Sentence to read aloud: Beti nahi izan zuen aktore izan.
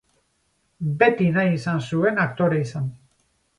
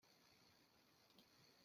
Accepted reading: first